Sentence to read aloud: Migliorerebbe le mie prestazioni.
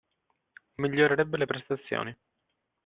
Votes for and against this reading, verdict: 0, 2, rejected